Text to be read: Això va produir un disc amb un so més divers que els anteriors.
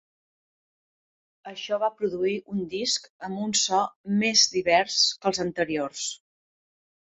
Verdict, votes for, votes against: accepted, 2, 0